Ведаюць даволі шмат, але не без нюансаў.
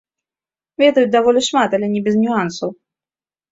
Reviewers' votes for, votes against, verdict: 1, 2, rejected